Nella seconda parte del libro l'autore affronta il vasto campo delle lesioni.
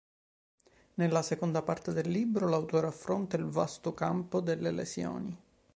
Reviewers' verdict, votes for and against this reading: accepted, 2, 0